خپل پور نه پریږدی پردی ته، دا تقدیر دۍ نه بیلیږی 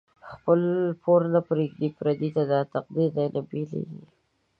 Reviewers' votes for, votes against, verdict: 2, 1, accepted